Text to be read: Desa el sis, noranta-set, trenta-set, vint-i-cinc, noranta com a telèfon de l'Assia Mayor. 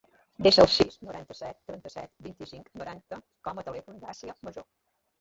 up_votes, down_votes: 0, 2